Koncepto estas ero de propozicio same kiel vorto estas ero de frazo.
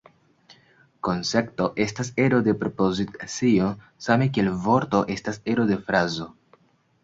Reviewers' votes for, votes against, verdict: 2, 0, accepted